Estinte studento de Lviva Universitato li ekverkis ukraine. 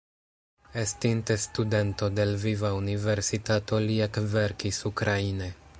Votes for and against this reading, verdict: 2, 0, accepted